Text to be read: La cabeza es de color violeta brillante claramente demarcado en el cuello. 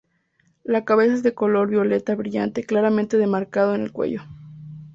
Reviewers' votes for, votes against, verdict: 2, 0, accepted